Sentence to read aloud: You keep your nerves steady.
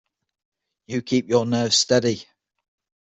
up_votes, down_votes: 6, 0